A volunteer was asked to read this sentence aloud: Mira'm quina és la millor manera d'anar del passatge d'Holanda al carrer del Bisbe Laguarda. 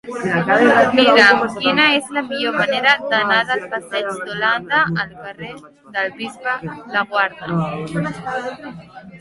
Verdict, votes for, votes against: rejected, 0, 2